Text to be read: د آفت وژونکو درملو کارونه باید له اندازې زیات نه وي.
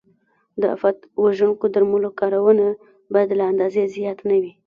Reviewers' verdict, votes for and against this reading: rejected, 0, 2